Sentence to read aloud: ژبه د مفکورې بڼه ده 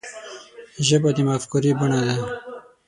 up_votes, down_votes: 3, 6